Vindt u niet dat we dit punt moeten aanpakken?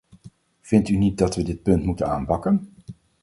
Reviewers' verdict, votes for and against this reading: accepted, 4, 0